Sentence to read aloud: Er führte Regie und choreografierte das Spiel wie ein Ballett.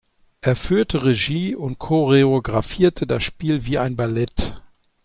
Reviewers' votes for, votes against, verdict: 2, 0, accepted